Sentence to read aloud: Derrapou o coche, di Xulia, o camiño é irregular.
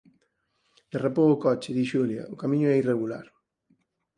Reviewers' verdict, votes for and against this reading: accepted, 4, 0